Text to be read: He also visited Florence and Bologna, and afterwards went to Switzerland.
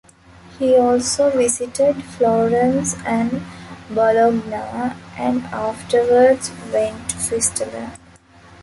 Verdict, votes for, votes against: rejected, 0, 2